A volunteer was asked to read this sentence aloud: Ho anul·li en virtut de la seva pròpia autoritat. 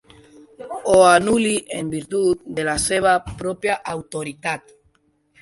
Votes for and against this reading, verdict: 2, 1, accepted